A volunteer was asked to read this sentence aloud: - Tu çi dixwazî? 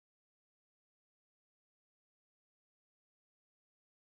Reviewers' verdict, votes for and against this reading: rejected, 0, 2